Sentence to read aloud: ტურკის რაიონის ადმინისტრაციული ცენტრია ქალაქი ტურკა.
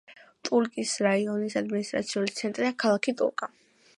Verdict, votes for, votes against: accepted, 2, 0